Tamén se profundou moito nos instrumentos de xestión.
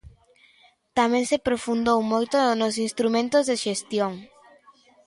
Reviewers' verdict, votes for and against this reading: accepted, 2, 0